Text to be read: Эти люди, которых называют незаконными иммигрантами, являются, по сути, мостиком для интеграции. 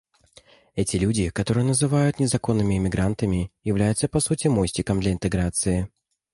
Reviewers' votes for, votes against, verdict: 0, 2, rejected